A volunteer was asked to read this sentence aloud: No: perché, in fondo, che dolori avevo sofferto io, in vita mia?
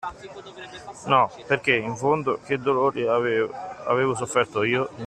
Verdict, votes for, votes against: rejected, 0, 2